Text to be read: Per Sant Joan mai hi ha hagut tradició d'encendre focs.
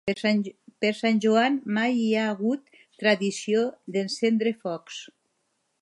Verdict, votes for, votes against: rejected, 1, 2